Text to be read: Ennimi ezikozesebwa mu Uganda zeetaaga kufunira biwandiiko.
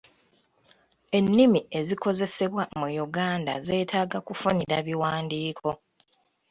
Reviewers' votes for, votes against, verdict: 2, 0, accepted